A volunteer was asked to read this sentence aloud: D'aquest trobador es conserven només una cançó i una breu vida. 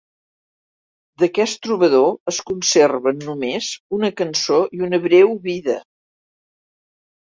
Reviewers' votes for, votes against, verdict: 2, 0, accepted